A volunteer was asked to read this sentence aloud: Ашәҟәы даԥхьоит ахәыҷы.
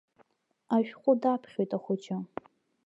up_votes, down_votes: 2, 1